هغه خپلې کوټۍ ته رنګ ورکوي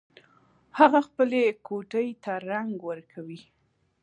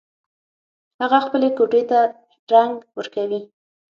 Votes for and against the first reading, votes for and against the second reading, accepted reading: 2, 0, 0, 6, first